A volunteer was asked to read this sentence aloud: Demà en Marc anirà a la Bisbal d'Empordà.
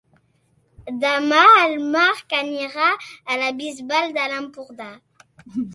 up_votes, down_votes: 0, 2